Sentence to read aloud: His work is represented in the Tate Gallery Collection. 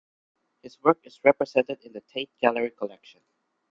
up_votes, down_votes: 1, 2